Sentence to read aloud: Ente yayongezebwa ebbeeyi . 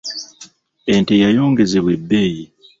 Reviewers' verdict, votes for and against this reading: accepted, 2, 0